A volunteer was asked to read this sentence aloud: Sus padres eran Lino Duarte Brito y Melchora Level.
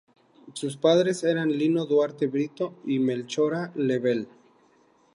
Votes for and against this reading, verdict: 2, 0, accepted